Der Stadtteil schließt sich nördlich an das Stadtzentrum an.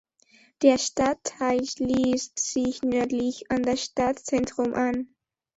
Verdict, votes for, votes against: accepted, 2, 0